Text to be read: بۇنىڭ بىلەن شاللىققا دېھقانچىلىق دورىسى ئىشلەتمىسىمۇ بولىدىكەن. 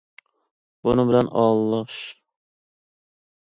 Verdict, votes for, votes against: rejected, 0, 2